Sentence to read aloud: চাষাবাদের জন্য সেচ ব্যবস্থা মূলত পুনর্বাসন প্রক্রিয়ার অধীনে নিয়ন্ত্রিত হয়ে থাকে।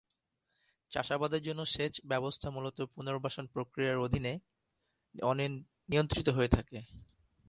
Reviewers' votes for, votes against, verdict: 0, 2, rejected